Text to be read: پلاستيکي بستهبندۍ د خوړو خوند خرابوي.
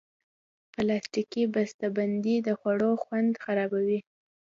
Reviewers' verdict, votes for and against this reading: accepted, 2, 0